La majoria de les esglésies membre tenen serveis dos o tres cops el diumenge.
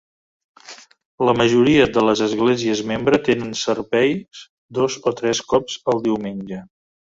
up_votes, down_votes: 1, 2